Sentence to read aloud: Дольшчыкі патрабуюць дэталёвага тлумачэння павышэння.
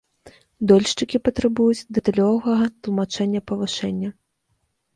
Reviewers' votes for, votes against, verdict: 1, 2, rejected